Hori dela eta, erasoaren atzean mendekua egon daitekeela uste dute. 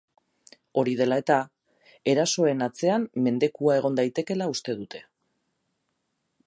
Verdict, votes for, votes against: rejected, 2, 4